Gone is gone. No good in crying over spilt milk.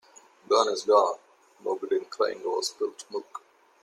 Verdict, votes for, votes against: accepted, 2, 0